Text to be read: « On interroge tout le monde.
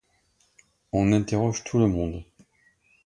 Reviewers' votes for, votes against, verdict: 2, 0, accepted